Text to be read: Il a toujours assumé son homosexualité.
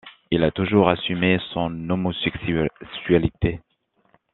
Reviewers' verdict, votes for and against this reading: rejected, 1, 2